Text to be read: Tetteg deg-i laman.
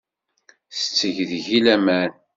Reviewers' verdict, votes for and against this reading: accepted, 2, 0